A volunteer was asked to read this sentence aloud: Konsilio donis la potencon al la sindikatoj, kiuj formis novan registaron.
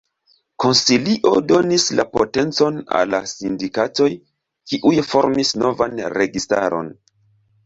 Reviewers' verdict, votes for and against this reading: rejected, 1, 2